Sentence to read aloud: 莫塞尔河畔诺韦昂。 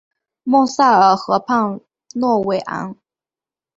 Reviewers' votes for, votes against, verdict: 2, 0, accepted